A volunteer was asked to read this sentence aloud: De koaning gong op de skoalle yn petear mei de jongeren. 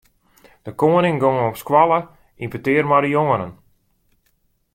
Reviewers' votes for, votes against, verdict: 2, 0, accepted